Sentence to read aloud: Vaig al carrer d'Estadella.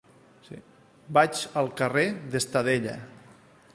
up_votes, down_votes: 2, 0